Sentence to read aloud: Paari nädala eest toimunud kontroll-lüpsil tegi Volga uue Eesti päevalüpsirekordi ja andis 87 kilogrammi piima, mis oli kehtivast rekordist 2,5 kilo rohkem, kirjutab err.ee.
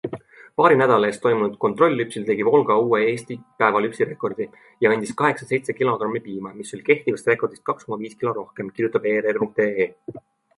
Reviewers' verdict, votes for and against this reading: rejected, 0, 2